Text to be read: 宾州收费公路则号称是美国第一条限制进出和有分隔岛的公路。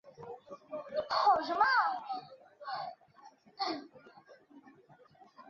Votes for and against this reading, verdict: 0, 3, rejected